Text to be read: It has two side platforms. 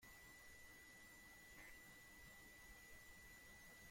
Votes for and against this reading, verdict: 0, 2, rejected